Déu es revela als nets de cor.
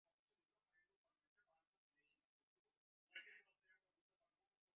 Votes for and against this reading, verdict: 1, 2, rejected